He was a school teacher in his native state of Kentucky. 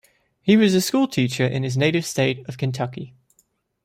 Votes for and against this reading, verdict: 2, 0, accepted